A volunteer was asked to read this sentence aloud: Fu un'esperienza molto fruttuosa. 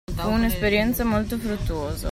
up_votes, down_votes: 0, 2